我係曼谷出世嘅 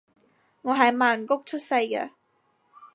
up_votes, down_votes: 4, 0